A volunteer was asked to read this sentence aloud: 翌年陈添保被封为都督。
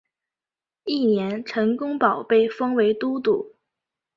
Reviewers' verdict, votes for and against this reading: rejected, 1, 2